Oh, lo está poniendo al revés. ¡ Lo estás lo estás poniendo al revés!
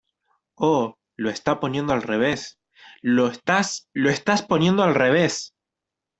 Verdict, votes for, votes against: accepted, 2, 0